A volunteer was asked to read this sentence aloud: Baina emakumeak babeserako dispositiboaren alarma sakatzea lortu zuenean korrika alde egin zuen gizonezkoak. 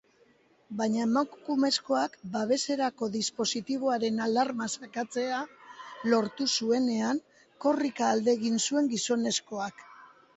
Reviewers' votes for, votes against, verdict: 0, 3, rejected